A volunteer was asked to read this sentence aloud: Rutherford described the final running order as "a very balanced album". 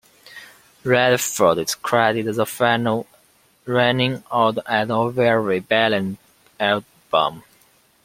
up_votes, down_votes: 1, 2